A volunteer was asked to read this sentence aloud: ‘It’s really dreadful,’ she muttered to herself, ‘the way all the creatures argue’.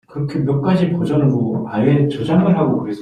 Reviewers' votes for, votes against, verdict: 0, 2, rejected